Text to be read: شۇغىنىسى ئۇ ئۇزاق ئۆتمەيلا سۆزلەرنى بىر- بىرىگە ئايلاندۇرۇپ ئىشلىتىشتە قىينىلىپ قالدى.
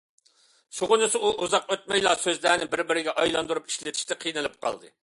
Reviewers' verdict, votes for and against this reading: accepted, 2, 0